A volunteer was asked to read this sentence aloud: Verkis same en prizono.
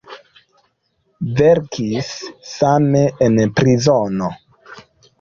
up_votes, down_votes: 1, 2